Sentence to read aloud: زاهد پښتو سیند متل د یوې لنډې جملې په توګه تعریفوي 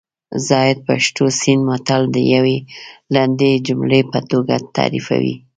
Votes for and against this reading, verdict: 2, 0, accepted